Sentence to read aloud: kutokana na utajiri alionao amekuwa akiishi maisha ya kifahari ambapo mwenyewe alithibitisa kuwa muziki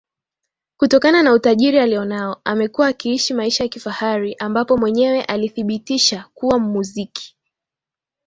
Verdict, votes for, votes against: accepted, 2, 0